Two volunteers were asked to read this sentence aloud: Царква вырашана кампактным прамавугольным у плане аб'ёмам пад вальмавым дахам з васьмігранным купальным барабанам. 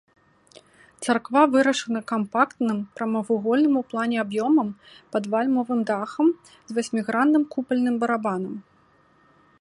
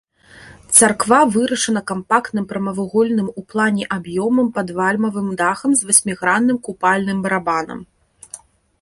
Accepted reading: first